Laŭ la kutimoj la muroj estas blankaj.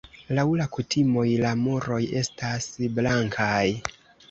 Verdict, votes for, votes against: accepted, 2, 0